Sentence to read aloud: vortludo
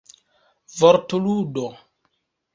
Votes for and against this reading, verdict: 1, 3, rejected